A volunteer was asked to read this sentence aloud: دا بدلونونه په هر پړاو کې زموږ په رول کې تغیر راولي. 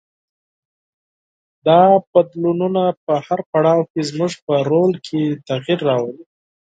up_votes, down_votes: 4, 0